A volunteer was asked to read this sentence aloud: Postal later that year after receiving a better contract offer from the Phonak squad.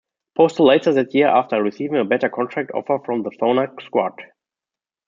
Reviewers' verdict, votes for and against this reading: accepted, 2, 0